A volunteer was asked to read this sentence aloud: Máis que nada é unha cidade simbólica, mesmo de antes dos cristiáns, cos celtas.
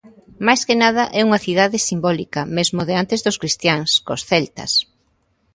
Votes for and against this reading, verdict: 2, 0, accepted